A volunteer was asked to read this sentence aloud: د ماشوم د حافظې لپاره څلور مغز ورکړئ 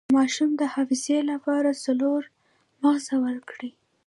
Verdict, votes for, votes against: rejected, 1, 2